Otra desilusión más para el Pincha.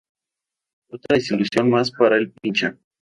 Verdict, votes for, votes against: rejected, 0, 2